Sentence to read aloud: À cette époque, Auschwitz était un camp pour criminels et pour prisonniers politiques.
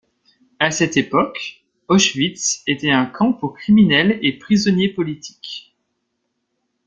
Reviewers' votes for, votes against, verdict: 0, 2, rejected